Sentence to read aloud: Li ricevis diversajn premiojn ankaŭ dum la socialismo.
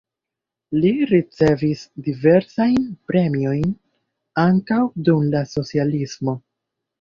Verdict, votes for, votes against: rejected, 1, 2